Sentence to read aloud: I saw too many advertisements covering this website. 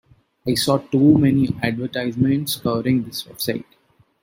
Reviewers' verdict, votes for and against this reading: rejected, 1, 2